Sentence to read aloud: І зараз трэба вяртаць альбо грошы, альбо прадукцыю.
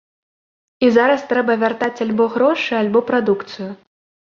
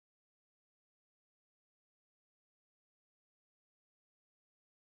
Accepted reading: first